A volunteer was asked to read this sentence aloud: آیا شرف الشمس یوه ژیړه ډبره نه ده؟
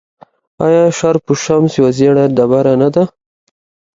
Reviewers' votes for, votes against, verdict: 2, 0, accepted